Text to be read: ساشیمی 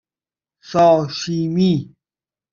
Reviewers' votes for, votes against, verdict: 1, 2, rejected